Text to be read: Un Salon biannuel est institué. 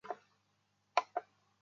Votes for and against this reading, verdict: 0, 2, rejected